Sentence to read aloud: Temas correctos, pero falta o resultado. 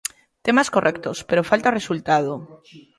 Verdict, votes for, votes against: accepted, 2, 1